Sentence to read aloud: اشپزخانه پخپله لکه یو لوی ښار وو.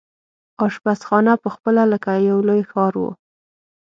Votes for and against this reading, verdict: 6, 0, accepted